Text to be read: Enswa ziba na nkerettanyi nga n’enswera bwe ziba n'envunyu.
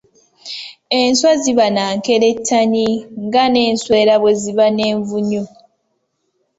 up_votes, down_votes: 2, 0